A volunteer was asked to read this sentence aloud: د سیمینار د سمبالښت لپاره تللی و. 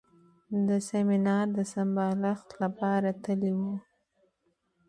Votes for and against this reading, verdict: 2, 1, accepted